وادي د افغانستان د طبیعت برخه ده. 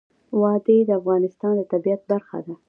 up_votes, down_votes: 2, 0